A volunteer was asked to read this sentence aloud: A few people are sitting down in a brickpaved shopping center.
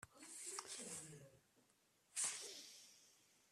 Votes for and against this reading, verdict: 0, 2, rejected